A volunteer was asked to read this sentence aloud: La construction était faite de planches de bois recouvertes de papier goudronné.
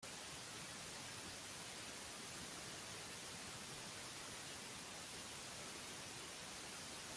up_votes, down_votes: 0, 2